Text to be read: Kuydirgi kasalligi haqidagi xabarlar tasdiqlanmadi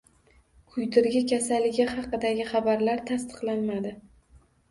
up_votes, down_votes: 2, 0